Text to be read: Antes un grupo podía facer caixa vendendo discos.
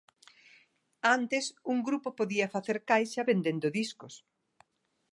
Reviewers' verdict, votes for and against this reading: accepted, 2, 0